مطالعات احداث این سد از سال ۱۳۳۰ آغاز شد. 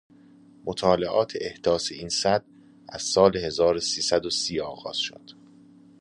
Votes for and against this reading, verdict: 0, 2, rejected